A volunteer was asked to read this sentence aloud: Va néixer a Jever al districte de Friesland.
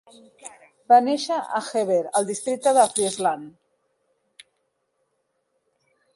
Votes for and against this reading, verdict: 4, 1, accepted